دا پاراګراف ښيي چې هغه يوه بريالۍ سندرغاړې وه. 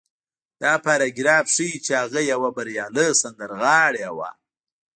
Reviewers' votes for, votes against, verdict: 0, 2, rejected